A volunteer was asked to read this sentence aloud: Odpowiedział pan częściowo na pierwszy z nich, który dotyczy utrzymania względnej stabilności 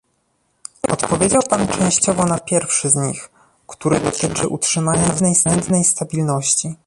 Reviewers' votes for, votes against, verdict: 0, 2, rejected